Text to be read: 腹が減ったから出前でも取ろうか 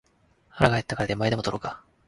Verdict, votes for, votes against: accepted, 2, 0